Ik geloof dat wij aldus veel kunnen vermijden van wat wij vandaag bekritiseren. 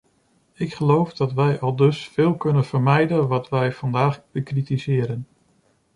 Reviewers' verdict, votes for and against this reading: rejected, 1, 2